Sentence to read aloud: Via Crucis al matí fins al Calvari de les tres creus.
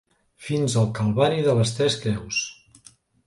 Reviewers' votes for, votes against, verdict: 1, 2, rejected